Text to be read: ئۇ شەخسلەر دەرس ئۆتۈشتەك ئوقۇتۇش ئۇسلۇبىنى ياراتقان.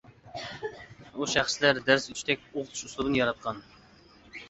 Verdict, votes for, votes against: accepted, 2, 0